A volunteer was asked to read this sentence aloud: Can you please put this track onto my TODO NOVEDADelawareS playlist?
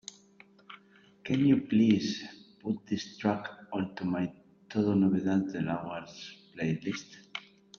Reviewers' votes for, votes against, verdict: 0, 2, rejected